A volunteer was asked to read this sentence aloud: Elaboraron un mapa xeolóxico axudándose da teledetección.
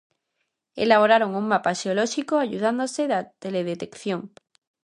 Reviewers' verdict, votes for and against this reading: rejected, 0, 2